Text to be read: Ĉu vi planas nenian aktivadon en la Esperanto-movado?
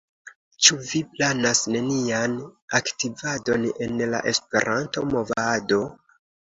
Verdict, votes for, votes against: accepted, 2, 0